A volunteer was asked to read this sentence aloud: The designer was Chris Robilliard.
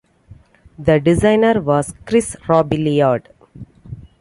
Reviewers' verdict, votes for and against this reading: accepted, 2, 0